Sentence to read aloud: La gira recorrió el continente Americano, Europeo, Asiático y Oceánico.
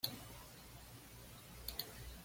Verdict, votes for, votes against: rejected, 1, 2